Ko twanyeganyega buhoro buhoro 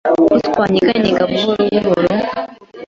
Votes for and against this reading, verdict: 2, 0, accepted